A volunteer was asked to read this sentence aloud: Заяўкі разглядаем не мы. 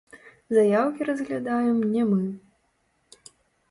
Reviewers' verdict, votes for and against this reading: rejected, 1, 3